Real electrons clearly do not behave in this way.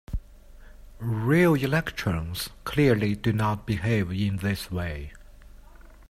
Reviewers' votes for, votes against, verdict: 1, 2, rejected